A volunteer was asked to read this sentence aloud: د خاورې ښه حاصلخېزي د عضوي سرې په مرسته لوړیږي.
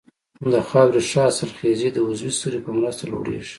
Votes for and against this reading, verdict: 2, 0, accepted